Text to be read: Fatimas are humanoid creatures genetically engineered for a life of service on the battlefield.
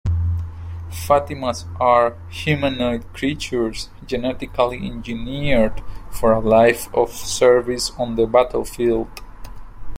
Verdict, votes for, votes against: accepted, 2, 1